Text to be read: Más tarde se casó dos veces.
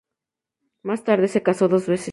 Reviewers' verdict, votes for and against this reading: rejected, 2, 2